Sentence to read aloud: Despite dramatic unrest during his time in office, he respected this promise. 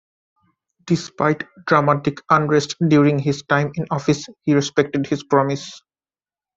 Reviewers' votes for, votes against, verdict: 0, 2, rejected